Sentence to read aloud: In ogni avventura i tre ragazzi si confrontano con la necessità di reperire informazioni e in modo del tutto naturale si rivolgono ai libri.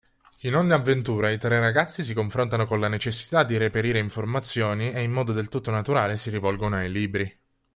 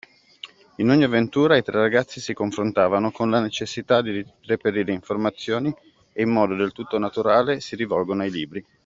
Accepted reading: first